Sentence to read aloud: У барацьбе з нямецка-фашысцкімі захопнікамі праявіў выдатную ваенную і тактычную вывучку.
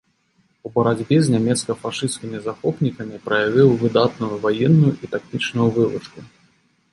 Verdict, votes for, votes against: accepted, 3, 0